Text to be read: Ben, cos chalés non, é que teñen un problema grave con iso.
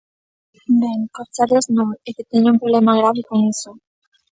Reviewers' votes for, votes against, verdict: 1, 2, rejected